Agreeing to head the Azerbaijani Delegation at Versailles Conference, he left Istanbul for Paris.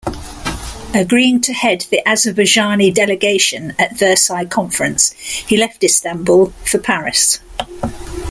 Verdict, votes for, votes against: accepted, 2, 0